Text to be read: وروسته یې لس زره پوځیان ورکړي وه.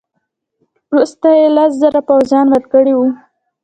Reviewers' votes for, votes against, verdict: 1, 2, rejected